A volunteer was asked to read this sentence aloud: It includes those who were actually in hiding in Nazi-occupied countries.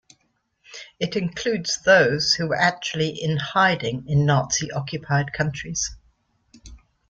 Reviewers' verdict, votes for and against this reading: accepted, 2, 0